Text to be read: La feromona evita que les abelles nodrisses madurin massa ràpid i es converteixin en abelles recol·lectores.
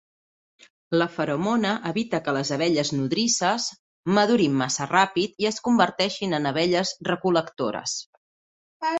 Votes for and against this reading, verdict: 2, 0, accepted